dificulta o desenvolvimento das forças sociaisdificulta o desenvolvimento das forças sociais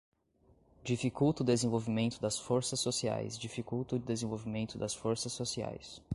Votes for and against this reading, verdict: 1, 2, rejected